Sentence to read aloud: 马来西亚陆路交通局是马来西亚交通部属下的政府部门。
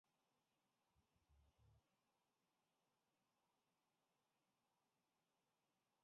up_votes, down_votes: 1, 2